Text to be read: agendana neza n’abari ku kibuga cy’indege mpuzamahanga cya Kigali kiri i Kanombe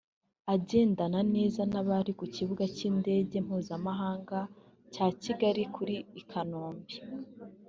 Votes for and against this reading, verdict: 1, 2, rejected